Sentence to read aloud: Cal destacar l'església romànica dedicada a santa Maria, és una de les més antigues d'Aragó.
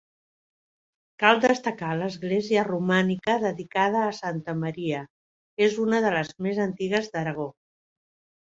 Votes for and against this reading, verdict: 4, 0, accepted